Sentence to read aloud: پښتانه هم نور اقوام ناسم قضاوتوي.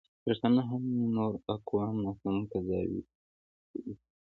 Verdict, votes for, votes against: accepted, 2, 1